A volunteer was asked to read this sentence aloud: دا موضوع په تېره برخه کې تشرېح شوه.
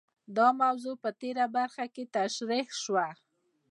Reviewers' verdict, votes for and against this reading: accepted, 2, 0